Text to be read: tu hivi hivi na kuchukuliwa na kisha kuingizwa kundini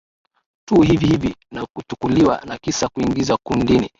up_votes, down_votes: 6, 5